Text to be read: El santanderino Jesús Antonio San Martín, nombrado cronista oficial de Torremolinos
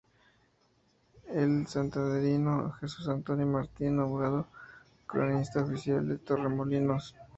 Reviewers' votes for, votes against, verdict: 0, 2, rejected